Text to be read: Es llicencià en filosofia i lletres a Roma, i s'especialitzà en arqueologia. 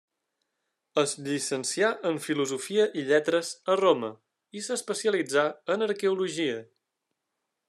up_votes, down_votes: 3, 0